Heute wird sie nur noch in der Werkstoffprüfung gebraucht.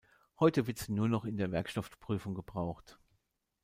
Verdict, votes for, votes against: rejected, 1, 2